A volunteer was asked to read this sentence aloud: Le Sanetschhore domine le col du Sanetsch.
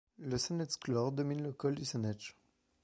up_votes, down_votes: 2, 0